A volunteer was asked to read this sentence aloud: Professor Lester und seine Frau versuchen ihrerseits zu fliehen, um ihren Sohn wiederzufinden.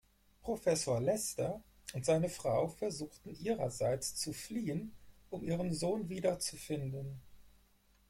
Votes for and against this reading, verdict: 0, 4, rejected